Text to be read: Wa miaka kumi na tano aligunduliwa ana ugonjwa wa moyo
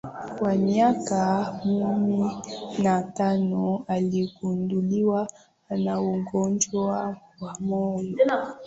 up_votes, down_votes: 7, 3